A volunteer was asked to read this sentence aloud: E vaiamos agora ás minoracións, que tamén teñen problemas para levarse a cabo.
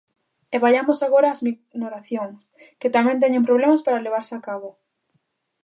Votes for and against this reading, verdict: 0, 2, rejected